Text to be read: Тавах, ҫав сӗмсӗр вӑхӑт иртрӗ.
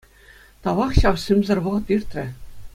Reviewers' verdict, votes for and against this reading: accepted, 2, 0